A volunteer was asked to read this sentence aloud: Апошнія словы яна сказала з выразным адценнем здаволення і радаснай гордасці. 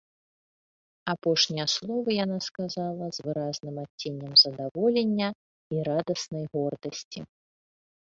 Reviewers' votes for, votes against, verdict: 1, 2, rejected